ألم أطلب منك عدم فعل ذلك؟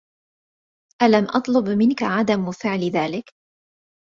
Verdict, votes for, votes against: accepted, 2, 1